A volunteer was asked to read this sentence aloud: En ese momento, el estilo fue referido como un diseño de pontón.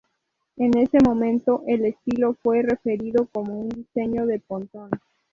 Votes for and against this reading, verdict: 2, 0, accepted